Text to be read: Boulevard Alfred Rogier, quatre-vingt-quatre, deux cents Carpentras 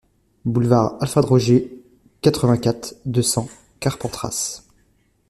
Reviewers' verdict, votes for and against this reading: rejected, 1, 2